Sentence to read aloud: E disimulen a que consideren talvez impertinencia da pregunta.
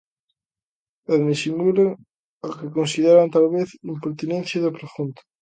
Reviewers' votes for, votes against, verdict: 0, 2, rejected